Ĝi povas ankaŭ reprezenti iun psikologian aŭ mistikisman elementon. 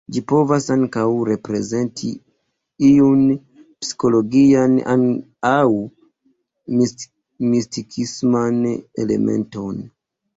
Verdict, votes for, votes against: rejected, 0, 2